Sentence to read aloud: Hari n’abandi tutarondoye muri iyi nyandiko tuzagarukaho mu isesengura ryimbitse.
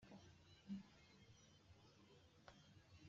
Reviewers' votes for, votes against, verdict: 1, 2, rejected